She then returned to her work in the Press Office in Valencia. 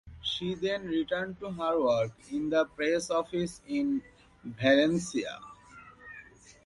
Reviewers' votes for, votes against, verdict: 2, 0, accepted